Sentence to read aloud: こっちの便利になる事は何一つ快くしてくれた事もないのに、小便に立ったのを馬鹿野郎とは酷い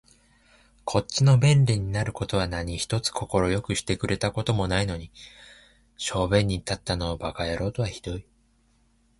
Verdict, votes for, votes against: accepted, 2, 1